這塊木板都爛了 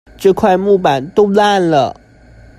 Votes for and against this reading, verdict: 0, 2, rejected